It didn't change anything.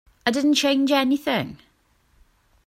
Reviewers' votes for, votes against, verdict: 1, 2, rejected